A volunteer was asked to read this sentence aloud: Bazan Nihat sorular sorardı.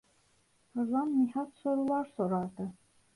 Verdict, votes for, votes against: rejected, 1, 2